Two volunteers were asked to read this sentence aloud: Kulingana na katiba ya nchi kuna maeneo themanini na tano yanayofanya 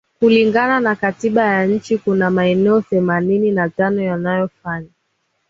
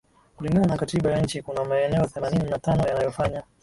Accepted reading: first